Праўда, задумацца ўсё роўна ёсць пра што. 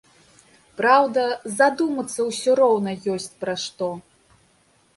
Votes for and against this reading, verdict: 2, 0, accepted